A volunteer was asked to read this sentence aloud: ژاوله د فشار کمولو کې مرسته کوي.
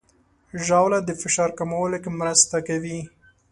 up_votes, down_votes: 2, 0